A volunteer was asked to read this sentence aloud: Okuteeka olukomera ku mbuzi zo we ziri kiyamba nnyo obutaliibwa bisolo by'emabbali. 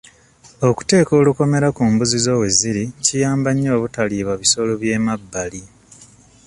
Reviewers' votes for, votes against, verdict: 2, 0, accepted